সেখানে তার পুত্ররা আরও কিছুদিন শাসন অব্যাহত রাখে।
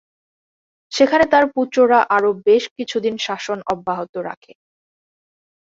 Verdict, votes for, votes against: rejected, 0, 3